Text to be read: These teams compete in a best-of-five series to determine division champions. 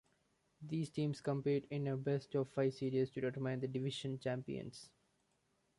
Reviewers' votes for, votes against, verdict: 1, 2, rejected